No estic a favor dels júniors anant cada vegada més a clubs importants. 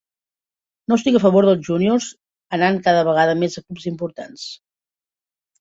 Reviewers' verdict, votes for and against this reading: rejected, 0, 2